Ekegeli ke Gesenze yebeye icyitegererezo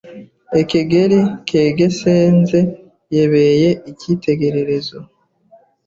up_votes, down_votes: 1, 2